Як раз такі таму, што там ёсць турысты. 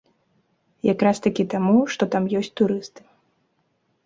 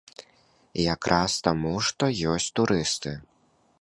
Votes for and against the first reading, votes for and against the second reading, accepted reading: 2, 0, 0, 2, first